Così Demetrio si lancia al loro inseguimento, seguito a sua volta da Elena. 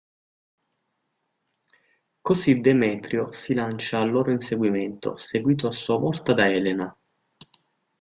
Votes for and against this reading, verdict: 2, 0, accepted